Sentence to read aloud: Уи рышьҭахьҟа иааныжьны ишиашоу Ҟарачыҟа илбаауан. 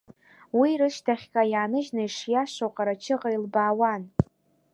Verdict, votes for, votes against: accepted, 2, 0